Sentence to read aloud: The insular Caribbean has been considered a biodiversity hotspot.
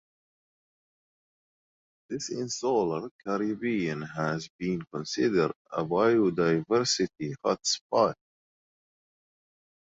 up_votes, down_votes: 0, 2